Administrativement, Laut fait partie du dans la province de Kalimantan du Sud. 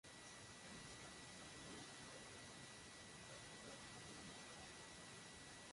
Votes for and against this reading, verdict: 0, 2, rejected